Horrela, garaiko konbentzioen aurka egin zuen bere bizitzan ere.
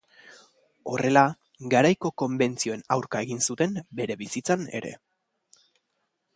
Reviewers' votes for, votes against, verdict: 1, 2, rejected